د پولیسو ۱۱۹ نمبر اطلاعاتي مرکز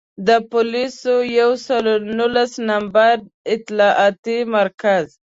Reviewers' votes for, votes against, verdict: 0, 2, rejected